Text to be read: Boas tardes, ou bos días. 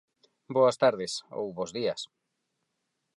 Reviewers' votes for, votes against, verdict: 4, 0, accepted